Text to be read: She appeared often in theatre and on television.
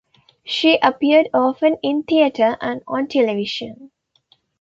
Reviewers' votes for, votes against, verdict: 2, 0, accepted